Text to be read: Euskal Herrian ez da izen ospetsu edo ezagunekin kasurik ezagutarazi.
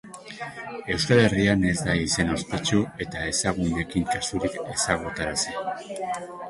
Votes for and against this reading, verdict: 3, 2, accepted